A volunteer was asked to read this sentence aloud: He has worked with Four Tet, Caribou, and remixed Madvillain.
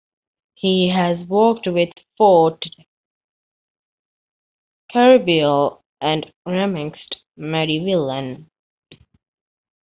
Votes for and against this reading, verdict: 0, 2, rejected